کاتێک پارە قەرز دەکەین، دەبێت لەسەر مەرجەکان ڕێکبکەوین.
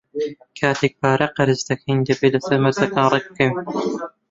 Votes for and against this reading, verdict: 0, 2, rejected